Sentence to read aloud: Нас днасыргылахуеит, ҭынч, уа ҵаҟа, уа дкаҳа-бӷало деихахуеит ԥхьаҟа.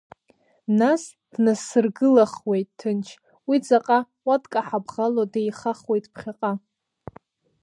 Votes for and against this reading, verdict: 1, 2, rejected